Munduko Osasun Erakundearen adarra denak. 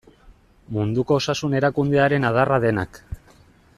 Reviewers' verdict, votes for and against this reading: accepted, 2, 0